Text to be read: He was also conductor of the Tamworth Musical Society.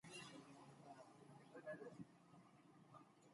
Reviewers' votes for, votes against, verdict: 0, 2, rejected